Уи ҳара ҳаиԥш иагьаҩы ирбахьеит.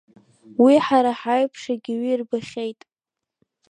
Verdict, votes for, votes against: rejected, 0, 2